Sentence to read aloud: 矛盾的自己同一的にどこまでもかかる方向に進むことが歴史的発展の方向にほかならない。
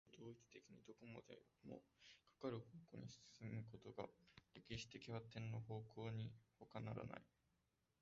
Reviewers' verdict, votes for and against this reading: rejected, 0, 2